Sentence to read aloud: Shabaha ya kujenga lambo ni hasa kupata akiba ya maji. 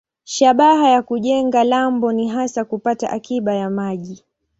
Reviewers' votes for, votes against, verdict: 2, 0, accepted